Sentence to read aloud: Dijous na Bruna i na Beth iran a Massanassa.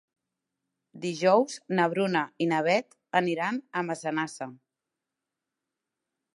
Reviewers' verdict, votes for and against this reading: rejected, 0, 2